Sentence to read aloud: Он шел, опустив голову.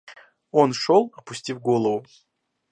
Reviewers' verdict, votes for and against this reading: rejected, 0, 2